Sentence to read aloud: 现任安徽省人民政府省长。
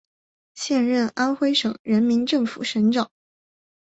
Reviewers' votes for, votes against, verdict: 2, 0, accepted